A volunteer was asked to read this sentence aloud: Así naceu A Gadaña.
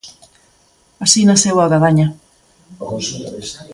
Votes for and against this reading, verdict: 1, 2, rejected